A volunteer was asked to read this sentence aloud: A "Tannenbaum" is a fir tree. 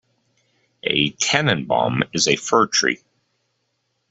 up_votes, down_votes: 2, 0